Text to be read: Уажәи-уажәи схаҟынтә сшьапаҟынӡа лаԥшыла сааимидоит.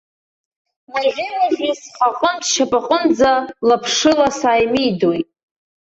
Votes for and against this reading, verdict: 0, 2, rejected